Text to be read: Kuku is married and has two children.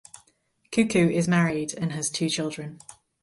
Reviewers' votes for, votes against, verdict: 4, 0, accepted